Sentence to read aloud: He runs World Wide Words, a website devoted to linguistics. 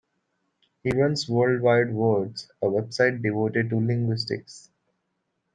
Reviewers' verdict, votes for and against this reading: accepted, 2, 0